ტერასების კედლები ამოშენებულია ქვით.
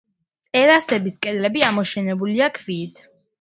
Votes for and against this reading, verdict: 1, 2, rejected